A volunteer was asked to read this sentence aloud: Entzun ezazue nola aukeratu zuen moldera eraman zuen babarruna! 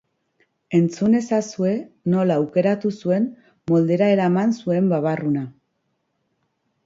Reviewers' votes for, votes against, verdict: 2, 0, accepted